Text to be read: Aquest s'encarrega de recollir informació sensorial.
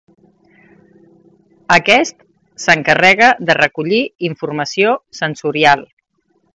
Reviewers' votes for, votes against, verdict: 3, 0, accepted